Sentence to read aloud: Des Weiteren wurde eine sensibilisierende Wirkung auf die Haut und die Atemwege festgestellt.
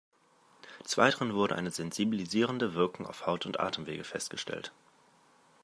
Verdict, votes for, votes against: accepted, 2, 0